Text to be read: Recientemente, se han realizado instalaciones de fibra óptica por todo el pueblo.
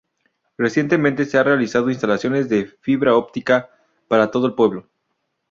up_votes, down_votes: 0, 2